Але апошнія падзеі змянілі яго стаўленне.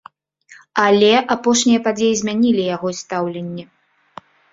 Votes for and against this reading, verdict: 2, 0, accepted